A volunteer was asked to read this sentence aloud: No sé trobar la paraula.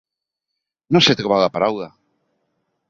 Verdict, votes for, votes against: accepted, 3, 0